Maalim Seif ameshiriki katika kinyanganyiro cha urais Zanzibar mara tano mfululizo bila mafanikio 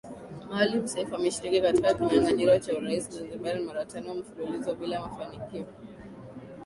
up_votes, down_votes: 1, 2